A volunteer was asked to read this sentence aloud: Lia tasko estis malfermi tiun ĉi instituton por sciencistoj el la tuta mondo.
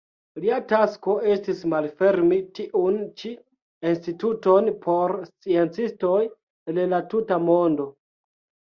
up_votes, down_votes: 1, 2